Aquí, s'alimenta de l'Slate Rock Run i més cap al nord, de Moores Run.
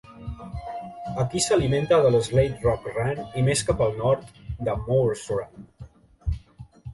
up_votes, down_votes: 1, 2